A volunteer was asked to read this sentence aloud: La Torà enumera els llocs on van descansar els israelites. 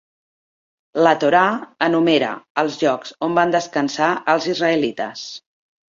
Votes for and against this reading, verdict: 3, 0, accepted